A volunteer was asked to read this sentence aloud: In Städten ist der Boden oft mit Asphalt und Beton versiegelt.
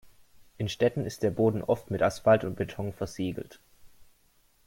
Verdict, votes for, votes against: accepted, 2, 0